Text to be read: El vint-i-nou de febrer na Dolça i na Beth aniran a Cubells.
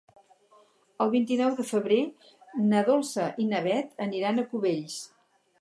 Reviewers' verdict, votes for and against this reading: rejected, 0, 2